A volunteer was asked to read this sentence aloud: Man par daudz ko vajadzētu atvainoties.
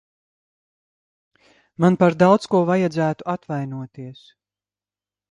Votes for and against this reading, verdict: 2, 0, accepted